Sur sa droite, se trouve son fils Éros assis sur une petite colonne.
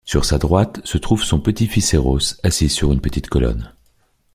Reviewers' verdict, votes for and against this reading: rejected, 0, 2